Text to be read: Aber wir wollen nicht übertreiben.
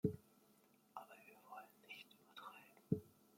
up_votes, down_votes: 1, 2